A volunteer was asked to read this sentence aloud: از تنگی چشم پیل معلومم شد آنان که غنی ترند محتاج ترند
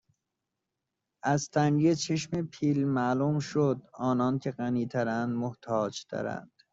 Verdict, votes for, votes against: rejected, 0, 2